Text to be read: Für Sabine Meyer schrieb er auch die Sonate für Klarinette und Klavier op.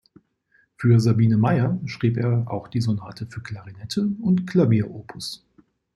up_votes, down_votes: 2, 0